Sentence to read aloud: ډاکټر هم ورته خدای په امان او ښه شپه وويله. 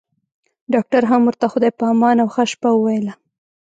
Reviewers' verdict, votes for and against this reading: rejected, 1, 2